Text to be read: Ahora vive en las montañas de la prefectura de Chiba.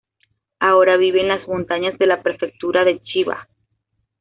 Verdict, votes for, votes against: accepted, 2, 0